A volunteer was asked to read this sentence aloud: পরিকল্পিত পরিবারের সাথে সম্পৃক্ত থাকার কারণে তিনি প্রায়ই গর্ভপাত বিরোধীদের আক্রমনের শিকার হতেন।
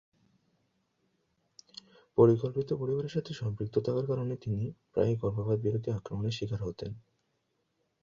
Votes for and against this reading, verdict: 2, 0, accepted